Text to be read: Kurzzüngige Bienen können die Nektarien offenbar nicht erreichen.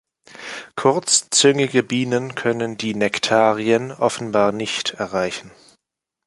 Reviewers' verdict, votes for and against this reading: accepted, 2, 0